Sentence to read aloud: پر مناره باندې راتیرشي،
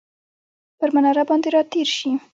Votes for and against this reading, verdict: 2, 0, accepted